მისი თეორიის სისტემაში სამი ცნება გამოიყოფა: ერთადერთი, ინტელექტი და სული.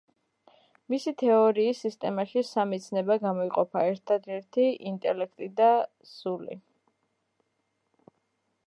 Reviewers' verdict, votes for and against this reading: accepted, 2, 0